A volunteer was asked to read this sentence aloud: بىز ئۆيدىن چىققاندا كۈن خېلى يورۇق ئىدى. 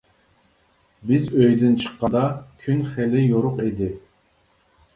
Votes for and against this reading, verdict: 2, 1, accepted